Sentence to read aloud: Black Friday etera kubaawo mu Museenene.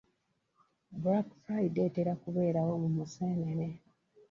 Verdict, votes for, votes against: rejected, 1, 2